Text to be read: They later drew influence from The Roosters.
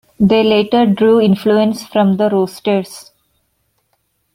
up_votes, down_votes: 0, 2